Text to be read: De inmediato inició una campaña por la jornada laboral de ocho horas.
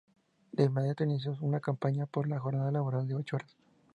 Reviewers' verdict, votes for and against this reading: accepted, 4, 0